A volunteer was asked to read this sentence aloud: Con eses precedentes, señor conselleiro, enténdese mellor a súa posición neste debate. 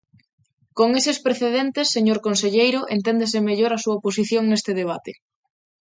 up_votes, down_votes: 2, 0